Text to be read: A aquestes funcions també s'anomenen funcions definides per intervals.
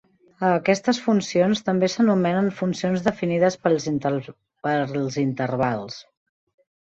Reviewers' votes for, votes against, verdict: 0, 2, rejected